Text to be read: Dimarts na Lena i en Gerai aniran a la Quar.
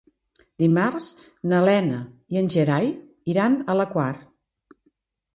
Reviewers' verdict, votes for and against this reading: rejected, 1, 2